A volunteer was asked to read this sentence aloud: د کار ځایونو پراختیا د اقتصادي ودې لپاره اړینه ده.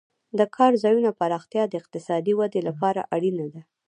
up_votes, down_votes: 2, 0